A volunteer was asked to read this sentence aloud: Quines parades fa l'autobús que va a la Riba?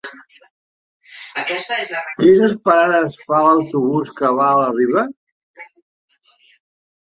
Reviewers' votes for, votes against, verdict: 0, 2, rejected